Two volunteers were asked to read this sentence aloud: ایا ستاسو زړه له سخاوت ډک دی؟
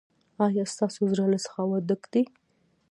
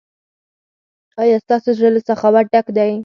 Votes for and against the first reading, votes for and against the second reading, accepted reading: 1, 2, 4, 0, second